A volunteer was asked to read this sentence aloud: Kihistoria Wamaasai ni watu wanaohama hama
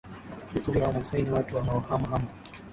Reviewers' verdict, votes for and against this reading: accepted, 4, 0